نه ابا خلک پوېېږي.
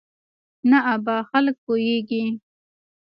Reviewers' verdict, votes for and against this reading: rejected, 1, 2